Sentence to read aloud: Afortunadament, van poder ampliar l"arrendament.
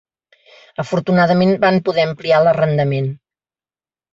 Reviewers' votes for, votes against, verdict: 2, 0, accepted